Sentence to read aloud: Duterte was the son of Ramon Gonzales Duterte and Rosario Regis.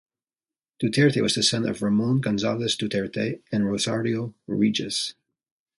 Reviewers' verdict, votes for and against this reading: accepted, 2, 0